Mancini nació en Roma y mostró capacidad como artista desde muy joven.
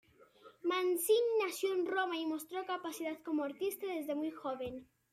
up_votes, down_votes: 2, 0